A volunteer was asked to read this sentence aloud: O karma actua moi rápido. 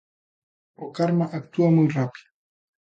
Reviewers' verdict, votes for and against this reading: accepted, 2, 0